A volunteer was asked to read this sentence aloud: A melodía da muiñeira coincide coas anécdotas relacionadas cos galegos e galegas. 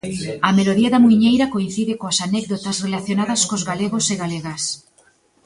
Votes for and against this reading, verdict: 0, 2, rejected